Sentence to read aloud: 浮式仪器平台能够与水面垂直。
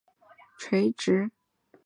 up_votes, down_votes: 2, 4